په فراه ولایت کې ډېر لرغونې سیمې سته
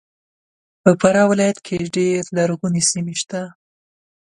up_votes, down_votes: 2, 0